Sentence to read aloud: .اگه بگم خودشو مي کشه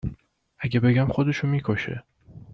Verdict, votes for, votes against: accepted, 2, 0